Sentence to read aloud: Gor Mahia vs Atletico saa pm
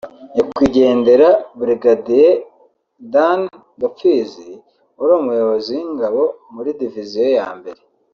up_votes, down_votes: 0, 2